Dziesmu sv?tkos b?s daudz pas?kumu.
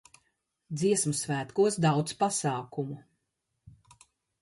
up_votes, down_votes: 0, 2